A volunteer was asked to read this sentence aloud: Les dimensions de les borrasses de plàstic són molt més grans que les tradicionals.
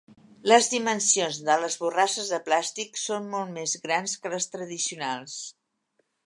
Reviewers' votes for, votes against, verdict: 3, 0, accepted